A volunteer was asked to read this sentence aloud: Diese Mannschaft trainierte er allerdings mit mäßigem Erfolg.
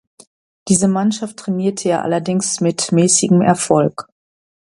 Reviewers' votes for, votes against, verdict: 2, 0, accepted